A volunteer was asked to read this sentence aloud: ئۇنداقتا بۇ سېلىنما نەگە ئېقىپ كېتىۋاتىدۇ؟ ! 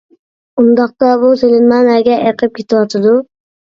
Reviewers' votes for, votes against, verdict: 2, 0, accepted